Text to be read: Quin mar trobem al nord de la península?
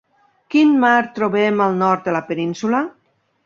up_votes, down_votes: 2, 0